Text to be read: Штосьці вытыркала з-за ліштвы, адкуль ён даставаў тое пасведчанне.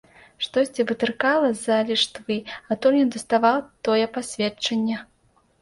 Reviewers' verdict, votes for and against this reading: rejected, 0, 2